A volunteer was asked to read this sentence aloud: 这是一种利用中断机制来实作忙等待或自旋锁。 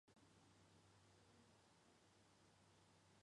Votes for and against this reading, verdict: 0, 2, rejected